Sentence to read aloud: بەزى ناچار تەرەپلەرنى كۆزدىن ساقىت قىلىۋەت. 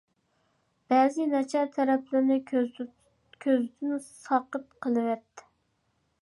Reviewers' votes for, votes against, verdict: 0, 2, rejected